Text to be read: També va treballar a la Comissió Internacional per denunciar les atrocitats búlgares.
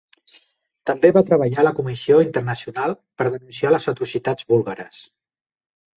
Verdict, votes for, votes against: accepted, 2, 1